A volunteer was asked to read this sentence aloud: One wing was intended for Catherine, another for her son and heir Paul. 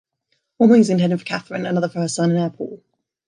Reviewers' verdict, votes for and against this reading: rejected, 1, 2